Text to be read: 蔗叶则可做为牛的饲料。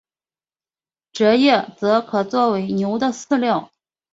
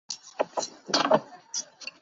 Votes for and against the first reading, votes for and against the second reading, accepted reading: 2, 1, 0, 3, first